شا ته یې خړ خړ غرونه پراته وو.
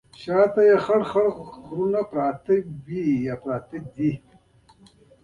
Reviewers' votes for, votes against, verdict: 0, 2, rejected